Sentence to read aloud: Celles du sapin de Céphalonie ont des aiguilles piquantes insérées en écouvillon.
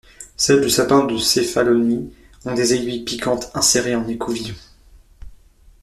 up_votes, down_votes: 1, 2